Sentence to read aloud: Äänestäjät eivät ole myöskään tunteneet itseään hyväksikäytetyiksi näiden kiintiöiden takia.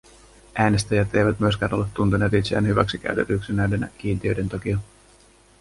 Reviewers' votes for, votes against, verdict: 0, 2, rejected